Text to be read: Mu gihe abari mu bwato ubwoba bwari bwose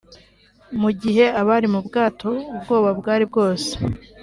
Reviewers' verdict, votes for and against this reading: accepted, 3, 0